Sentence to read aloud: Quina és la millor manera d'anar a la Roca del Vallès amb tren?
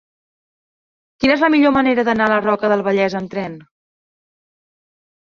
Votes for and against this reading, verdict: 4, 0, accepted